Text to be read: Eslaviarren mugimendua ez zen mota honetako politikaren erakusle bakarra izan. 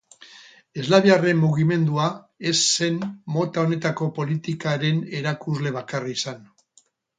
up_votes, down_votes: 6, 0